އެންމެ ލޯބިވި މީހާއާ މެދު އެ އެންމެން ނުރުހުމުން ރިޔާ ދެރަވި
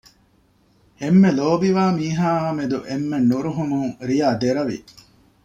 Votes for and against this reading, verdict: 1, 2, rejected